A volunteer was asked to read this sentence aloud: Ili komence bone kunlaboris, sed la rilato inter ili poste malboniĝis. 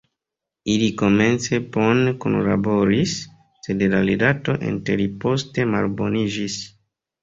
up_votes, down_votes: 2, 3